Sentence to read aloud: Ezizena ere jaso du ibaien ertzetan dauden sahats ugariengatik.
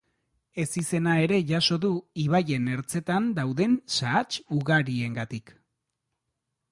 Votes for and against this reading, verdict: 2, 0, accepted